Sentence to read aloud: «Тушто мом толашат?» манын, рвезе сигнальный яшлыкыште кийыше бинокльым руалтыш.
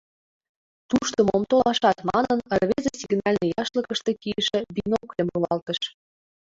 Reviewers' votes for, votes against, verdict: 2, 0, accepted